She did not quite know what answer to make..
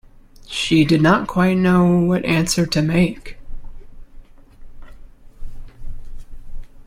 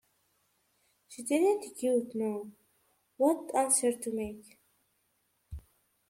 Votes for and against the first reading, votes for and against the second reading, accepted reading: 2, 0, 1, 2, first